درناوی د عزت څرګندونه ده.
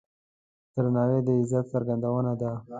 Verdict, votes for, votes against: accepted, 2, 0